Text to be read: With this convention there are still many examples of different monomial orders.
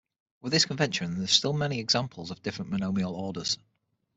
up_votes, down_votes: 6, 0